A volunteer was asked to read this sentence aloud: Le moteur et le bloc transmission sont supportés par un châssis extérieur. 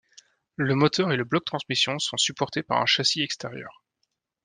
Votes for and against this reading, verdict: 2, 0, accepted